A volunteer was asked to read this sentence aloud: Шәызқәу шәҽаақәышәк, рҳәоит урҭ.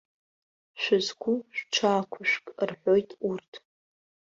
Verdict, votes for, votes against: accepted, 2, 0